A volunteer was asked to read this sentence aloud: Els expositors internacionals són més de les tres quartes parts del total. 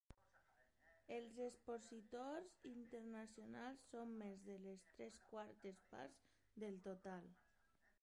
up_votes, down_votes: 0, 2